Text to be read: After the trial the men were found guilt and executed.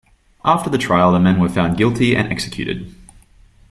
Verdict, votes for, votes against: rejected, 1, 2